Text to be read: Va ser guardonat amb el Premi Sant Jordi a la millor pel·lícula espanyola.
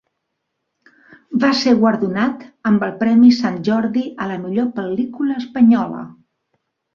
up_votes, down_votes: 3, 0